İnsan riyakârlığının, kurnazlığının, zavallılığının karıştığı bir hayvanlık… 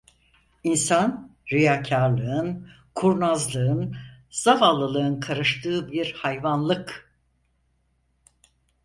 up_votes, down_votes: 0, 4